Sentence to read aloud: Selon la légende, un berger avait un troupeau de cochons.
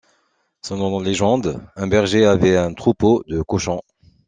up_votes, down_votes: 2, 0